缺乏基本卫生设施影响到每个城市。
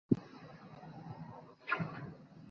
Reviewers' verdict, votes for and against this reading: rejected, 2, 3